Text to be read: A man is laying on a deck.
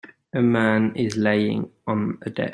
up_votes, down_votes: 0, 2